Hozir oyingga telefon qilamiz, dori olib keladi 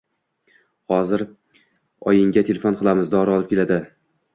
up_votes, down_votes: 2, 0